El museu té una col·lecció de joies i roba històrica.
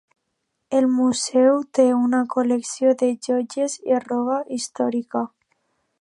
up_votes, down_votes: 2, 0